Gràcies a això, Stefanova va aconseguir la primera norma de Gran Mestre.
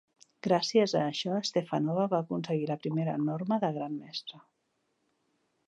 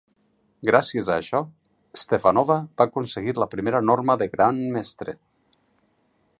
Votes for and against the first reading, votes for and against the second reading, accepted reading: 0, 2, 4, 0, second